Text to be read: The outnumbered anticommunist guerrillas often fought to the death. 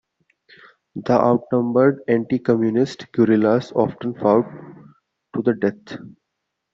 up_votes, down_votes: 2, 0